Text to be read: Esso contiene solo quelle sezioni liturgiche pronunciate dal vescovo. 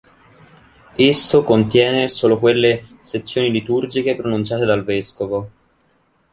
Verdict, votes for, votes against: accepted, 2, 0